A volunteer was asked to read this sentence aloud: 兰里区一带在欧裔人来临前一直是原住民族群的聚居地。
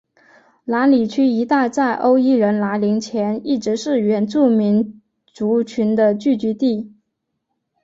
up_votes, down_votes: 2, 0